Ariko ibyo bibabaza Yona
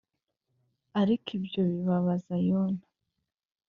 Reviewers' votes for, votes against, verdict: 2, 0, accepted